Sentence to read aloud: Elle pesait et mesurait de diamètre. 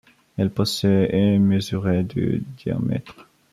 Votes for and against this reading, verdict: 0, 2, rejected